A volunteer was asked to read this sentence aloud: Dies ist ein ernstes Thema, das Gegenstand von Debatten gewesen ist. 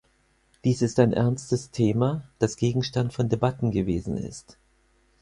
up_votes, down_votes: 4, 0